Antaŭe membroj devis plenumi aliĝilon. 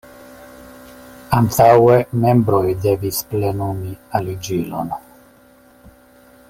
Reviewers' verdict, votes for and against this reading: accepted, 2, 0